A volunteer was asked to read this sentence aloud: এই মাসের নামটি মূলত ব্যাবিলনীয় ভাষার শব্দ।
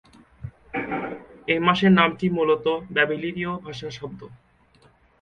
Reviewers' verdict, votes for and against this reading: rejected, 1, 2